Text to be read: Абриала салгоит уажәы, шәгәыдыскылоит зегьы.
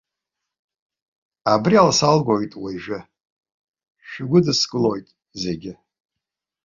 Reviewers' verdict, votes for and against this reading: accepted, 3, 0